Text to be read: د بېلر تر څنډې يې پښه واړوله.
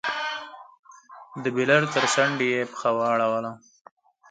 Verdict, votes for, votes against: accepted, 4, 0